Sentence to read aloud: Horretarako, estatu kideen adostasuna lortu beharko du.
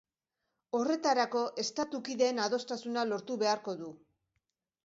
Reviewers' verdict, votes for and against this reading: accepted, 2, 0